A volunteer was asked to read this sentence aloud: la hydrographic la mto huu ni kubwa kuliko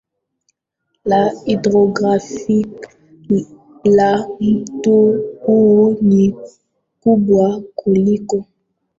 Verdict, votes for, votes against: rejected, 0, 2